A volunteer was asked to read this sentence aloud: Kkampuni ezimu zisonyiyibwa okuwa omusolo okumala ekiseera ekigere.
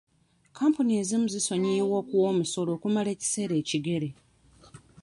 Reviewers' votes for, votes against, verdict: 2, 0, accepted